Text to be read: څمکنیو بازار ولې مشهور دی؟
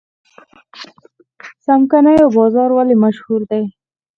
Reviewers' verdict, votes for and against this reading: rejected, 0, 4